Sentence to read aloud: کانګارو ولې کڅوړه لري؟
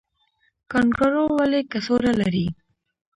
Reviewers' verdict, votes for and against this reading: rejected, 0, 2